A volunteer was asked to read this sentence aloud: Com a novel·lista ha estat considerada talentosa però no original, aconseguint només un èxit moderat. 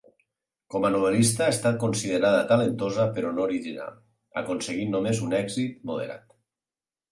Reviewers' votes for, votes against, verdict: 6, 0, accepted